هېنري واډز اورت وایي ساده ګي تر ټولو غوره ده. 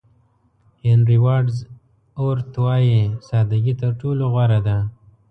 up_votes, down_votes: 2, 0